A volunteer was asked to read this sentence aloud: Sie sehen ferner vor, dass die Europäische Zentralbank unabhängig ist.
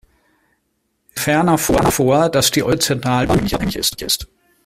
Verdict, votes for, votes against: rejected, 0, 2